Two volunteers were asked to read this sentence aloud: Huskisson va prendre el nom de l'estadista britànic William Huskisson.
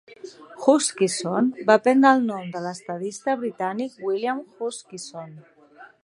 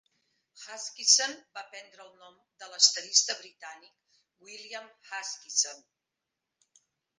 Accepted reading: first